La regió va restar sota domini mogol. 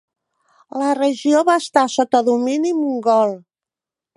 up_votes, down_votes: 0, 2